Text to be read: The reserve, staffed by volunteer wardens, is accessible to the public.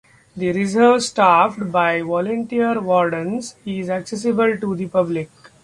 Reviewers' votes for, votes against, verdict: 2, 0, accepted